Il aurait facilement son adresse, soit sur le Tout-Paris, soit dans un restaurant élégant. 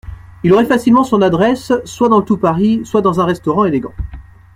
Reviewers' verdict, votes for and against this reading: rejected, 1, 2